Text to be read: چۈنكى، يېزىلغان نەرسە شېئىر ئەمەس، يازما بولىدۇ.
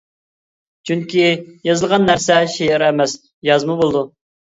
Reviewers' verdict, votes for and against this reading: accepted, 2, 0